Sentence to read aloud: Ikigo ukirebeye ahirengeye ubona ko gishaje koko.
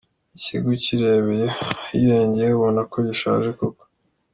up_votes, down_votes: 2, 0